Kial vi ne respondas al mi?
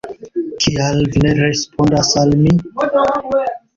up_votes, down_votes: 2, 0